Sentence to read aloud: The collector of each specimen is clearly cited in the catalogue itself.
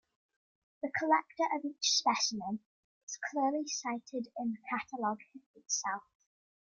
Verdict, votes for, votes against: rejected, 1, 2